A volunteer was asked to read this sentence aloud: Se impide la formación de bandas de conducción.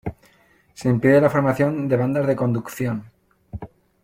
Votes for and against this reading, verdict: 2, 1, accepted